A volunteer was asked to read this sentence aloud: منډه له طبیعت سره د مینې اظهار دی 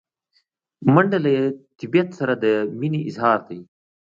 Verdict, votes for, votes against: accepted, 2, 0